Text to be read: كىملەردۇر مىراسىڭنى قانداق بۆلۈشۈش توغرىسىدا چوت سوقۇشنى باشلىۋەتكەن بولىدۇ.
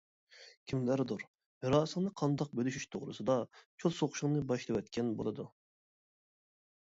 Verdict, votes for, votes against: rejected, 1, 2